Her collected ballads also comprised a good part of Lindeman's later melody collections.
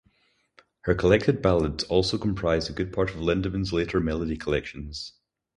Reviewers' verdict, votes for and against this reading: accepted, 4, 0